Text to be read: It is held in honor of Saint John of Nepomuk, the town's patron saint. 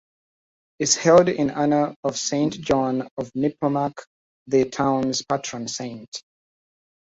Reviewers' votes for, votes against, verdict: 2, 1, accepted